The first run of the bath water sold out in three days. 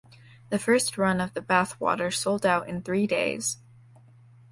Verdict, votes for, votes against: accepted, 2, 0